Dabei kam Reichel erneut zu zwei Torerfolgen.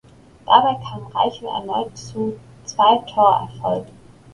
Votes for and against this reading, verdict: 3, 0, accepted